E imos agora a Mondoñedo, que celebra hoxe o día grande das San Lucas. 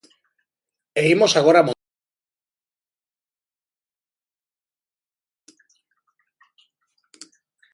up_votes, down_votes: 0, 2